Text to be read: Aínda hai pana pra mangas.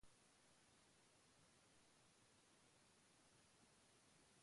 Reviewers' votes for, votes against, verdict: 1, 2, rejected